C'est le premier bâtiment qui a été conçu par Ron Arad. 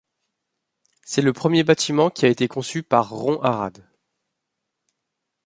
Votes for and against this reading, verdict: 2, 1, accepted